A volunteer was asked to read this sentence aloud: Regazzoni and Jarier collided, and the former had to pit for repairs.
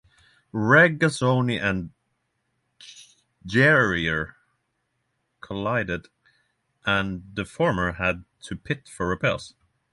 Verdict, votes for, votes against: rejected, 0, 3